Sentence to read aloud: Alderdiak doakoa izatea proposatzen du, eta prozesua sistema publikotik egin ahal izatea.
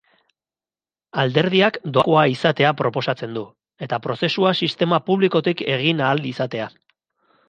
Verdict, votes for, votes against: rejected, 0, 2